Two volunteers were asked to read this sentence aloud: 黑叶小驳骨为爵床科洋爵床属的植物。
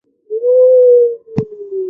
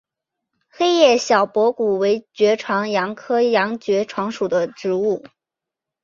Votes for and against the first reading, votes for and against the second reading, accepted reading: 0, 2, 5, 1, second